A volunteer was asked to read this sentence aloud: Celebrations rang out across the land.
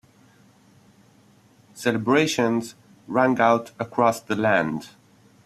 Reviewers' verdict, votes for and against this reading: accepted, 2, 0